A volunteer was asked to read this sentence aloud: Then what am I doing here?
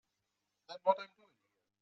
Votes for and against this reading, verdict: 0, 2, rejected